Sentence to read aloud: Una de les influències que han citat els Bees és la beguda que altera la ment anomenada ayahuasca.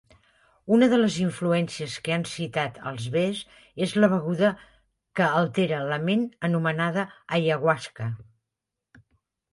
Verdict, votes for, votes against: accepted, 2, 0